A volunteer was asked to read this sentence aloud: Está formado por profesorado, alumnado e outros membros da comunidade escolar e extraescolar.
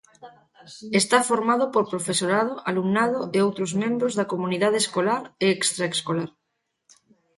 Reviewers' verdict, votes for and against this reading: accepted, 2, 0